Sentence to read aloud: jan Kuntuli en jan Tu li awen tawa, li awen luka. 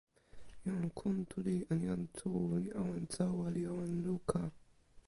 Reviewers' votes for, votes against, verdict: 1, 2, rejected